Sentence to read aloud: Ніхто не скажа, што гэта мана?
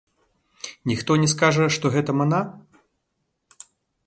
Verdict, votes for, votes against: rejected, 0, 2